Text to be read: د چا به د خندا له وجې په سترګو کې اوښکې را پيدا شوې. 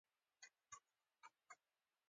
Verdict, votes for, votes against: accepted, 2, 0